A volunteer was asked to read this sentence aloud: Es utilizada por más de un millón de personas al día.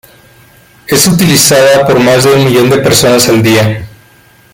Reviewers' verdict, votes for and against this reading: accepted, 2, 1